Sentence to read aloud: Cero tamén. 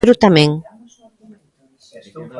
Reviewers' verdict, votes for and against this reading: rejected, 0, 2